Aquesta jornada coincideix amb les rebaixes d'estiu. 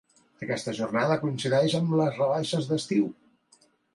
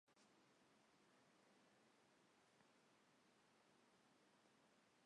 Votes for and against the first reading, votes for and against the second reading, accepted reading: 2, 0, 0, 2, first